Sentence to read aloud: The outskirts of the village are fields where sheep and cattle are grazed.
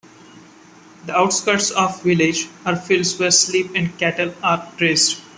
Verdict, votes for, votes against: rejected, 0, 2